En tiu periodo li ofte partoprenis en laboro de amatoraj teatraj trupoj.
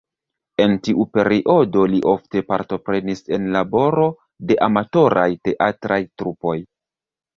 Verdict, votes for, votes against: accepted, 2, 1